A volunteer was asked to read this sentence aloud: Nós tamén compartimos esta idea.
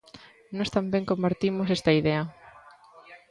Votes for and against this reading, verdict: 0, 2, rejected